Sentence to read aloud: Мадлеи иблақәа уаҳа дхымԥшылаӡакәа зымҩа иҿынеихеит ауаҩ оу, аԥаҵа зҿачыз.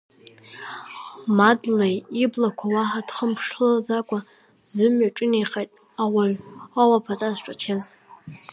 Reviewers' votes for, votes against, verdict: 1, 2, rejected